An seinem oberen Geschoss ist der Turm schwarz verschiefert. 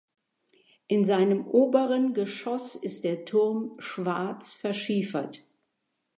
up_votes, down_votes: 0, 2